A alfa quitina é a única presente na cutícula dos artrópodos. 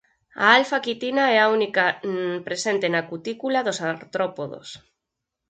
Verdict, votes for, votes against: rejected, 2, 4